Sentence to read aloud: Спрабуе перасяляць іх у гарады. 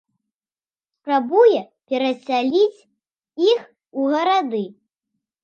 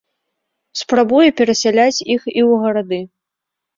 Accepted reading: first